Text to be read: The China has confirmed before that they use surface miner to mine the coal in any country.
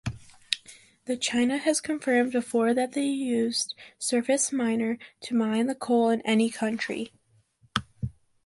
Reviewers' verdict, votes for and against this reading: accepted, 2, 1